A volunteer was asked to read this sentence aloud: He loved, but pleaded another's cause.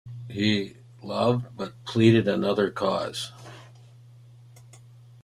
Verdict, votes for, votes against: rejected, 0, 2